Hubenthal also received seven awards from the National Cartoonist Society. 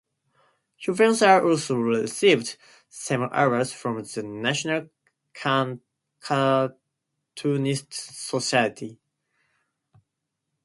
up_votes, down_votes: 0, 2